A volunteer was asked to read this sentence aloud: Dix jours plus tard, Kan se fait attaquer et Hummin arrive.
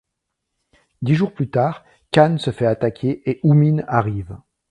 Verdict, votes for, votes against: accepted, 2, 0